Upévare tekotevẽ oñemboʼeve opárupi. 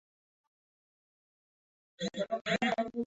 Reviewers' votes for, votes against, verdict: 0, 2, rejected